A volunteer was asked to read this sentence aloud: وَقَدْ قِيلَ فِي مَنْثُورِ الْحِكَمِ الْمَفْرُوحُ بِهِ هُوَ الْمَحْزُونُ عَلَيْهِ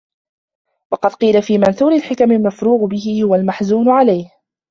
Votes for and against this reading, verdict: 0, 2, rejected